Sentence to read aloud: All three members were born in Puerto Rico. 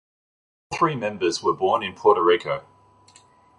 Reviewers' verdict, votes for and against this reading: rejected, 0, 2